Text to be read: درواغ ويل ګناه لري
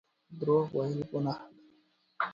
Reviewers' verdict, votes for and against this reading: accepted, 2, 0